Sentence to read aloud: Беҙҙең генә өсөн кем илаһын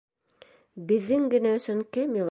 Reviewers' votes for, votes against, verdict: 0, 2, rejected